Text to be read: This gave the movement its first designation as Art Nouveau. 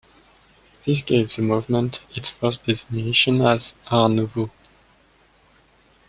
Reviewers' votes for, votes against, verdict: 2, 0, accepted